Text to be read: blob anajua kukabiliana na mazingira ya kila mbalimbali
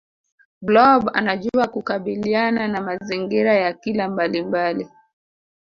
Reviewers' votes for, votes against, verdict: 2, 0, accepted